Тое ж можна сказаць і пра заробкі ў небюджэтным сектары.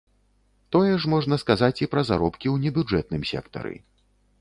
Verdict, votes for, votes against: accepted, 2, 0